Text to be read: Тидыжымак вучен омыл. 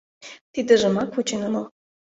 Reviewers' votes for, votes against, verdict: 2, 0, accepted